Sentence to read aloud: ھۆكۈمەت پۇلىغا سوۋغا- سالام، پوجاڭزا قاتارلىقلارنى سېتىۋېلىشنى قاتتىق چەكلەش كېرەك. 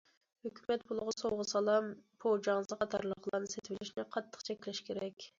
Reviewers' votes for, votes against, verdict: 2, 0, accepted